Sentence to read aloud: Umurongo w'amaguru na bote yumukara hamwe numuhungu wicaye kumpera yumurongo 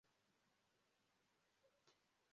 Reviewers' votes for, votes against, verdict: 0, 2, rejected